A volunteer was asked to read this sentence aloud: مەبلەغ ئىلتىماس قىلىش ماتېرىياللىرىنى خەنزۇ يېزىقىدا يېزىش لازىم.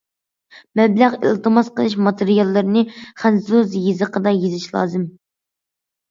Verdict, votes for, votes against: accepted, 2, 0